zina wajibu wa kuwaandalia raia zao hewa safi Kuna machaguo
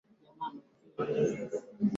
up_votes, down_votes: 2, 8